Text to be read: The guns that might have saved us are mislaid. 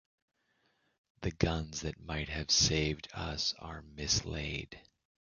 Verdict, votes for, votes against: accepted, 2, 0